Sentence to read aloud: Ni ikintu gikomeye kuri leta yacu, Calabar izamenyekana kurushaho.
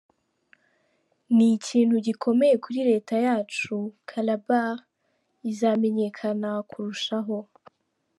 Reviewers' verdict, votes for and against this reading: accepted, 2, 0